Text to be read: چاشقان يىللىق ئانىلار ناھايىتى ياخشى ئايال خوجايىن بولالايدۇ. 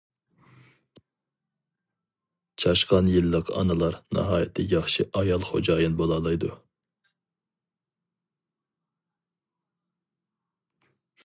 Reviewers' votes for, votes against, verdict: 2, 0, accepted